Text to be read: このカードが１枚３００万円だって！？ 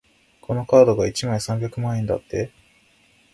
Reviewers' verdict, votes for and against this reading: rejected, 0, 2